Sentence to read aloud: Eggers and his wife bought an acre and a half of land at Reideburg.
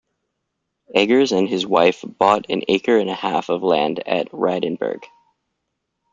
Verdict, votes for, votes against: rejected, 1, 2